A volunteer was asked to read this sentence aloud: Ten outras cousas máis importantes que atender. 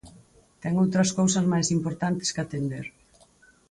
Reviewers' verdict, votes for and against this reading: accepted, 4, 0